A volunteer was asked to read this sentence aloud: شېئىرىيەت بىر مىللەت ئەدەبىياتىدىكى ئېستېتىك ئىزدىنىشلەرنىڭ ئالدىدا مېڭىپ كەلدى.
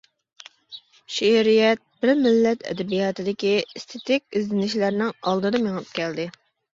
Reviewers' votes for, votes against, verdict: 2, 0, accepted